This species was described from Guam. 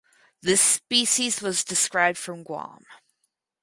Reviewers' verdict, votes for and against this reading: accepted, 4, 0